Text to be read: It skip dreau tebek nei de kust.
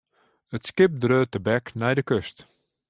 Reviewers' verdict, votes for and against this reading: accepted, 2, 0